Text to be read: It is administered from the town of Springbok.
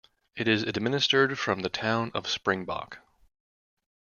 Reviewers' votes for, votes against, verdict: 2, 0, accepted